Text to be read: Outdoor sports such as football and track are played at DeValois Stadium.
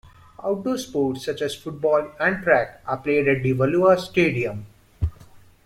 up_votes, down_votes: 1, 2